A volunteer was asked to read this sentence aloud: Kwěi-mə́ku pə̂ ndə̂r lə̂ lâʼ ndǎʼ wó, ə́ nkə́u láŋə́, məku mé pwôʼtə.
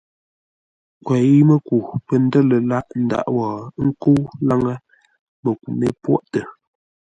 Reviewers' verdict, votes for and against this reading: accepted, 2, 0